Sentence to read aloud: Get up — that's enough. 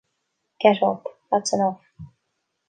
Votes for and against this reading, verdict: 2, 0, accepted